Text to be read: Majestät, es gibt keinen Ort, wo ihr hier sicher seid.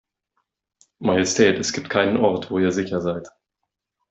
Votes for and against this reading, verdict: 0, 2, rejected